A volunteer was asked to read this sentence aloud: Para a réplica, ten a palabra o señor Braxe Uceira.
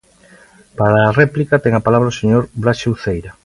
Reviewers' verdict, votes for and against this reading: accepted, 2, 0